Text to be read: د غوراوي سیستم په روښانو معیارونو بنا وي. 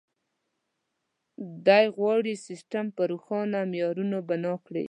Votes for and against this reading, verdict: 0, 2, rejected